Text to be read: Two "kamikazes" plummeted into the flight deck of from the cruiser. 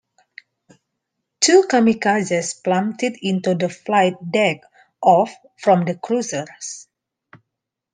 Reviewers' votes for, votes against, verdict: 2, 1, accepted